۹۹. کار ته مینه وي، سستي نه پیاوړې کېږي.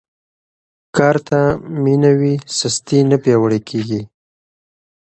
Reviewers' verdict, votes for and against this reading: rejected, 0, 2